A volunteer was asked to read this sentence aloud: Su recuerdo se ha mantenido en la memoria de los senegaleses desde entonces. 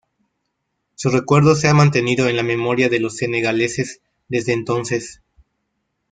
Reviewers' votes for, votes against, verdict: 0, 2, rejected